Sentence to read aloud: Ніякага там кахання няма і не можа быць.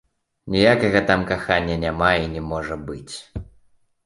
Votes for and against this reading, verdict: 2, 0, accepted